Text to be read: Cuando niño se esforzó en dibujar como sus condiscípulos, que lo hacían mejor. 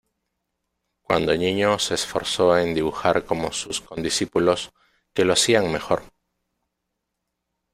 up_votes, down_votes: 1, 2